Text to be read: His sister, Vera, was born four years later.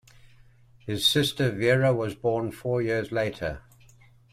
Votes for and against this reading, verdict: 2, 0, accepted